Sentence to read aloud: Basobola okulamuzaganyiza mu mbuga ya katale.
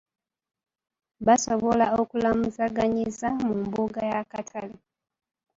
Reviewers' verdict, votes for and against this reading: rejected, 1, 2